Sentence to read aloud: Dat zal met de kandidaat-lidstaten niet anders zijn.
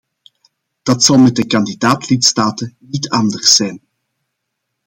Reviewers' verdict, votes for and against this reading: accepted, 2, 0